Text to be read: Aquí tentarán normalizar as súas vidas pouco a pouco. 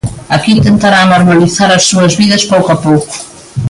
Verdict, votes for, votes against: accepted, 2, 0